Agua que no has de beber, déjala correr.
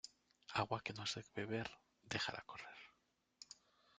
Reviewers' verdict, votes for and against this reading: rejected, 1, 2